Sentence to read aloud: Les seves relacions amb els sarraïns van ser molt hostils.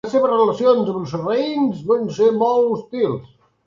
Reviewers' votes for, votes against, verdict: 0, 2, rejected